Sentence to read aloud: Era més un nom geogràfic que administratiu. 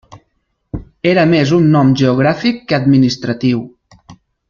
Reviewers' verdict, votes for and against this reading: accepted, 3, 0